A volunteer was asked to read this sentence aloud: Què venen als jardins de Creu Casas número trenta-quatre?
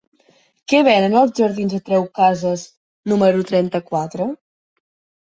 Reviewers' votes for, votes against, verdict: 2, 0, accepted